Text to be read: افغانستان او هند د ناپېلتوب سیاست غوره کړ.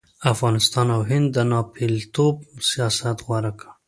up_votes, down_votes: 2, 0